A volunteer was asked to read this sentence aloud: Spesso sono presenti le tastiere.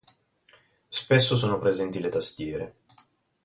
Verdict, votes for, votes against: accepted, 4, 0